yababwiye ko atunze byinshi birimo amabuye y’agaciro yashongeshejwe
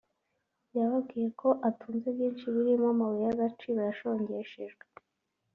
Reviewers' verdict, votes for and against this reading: accepted, 3, 0